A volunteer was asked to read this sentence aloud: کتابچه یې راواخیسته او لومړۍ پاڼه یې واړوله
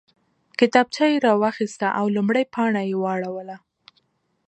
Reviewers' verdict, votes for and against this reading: accepted, 2, 0